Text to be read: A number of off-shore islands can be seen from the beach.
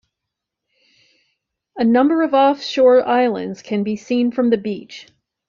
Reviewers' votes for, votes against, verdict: 2, 0, accepted